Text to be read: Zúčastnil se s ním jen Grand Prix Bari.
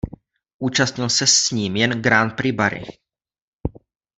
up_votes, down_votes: 1, 2